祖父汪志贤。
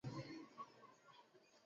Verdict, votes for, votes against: rejected, 0, 2